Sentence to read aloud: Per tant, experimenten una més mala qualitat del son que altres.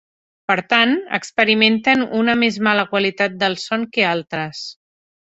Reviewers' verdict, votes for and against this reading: accepted, 3, 0